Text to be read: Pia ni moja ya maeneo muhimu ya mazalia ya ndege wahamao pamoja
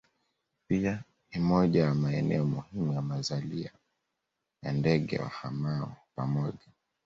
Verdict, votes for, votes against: accepted, 2, 0